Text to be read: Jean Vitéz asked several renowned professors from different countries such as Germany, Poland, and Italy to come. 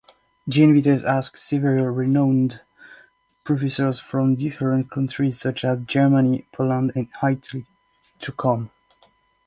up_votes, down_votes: 2, 0